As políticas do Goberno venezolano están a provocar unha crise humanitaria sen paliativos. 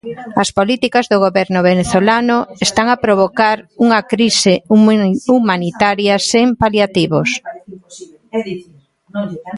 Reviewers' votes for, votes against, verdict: 0, 2, rejected